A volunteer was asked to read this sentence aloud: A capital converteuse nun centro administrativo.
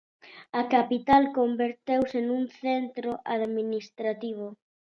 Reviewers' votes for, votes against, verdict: 2, 0, accepted